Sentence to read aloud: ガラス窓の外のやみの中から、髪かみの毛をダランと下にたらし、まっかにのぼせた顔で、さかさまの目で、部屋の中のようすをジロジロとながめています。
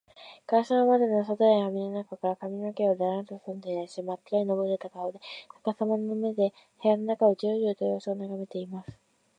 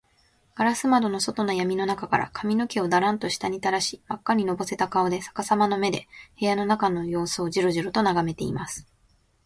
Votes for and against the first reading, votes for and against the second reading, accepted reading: 1, 2, 15, 3, second